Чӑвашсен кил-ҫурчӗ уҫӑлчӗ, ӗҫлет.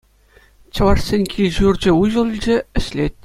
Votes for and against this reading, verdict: 2, 0, accepted